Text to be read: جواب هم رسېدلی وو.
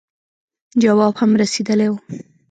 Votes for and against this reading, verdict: 0, 2, rejected